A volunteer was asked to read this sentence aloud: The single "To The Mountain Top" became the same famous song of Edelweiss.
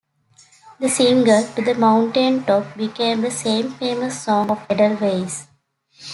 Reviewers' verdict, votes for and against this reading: accepted, 2, 1